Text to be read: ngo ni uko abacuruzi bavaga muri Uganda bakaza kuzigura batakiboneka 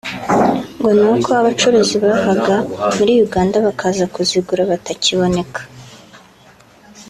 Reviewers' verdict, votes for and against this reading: accepted, 2, 0